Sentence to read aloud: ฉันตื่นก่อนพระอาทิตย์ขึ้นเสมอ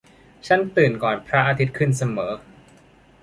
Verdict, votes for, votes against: accepted, 2, 0